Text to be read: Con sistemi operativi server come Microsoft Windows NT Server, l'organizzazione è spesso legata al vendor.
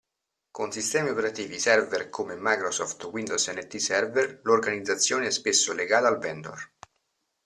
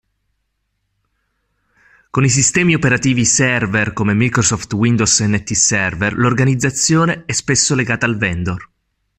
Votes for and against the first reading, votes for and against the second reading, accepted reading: 2, 0, 0, 2, first